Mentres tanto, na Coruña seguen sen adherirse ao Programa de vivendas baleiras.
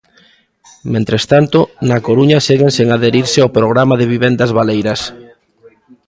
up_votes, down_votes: 2, 0